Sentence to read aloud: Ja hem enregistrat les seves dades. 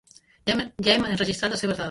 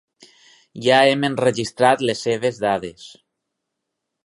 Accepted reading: second